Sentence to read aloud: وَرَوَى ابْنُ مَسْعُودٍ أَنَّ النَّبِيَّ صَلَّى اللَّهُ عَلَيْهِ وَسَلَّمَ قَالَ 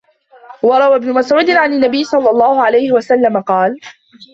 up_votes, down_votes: 0, 2